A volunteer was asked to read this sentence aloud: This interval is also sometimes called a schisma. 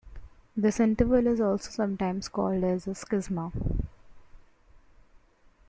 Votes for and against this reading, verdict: 2, 1, accepted